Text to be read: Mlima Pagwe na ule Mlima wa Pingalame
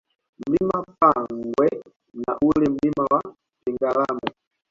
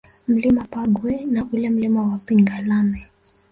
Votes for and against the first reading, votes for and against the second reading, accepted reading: 2, 1, 0, 2, first